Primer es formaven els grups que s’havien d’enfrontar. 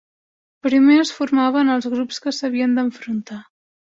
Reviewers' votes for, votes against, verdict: 3, 1, accepted